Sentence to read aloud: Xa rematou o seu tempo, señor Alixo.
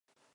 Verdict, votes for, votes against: rejected, 0, 2